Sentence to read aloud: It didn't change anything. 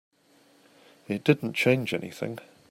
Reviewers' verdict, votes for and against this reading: accepted, 2, 0